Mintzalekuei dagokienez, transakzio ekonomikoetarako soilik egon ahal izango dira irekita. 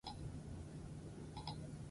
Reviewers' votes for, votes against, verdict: 0, 4, rejected